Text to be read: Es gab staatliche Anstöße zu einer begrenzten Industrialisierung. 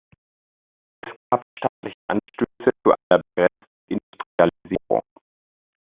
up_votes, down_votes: 0, 2